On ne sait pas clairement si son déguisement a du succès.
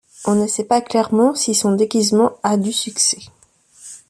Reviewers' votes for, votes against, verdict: 2, 1, accepted